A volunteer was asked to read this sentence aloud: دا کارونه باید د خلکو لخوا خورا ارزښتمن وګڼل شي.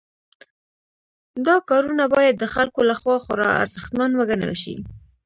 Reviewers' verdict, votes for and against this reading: accepted, 2, 0